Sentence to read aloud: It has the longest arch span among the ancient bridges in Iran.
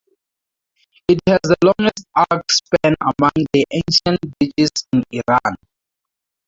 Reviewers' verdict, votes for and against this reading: rejected, 0, 2